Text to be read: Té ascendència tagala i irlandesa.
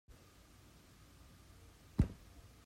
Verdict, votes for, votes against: rejected, 0, 2